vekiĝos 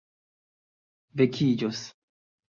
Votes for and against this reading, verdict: 3, 0, accepted